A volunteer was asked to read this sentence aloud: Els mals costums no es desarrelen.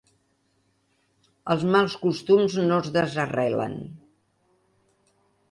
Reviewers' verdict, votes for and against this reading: accepted, 4, 0